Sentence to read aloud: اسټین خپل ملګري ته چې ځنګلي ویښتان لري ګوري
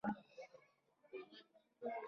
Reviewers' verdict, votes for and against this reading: rejected, 0, 2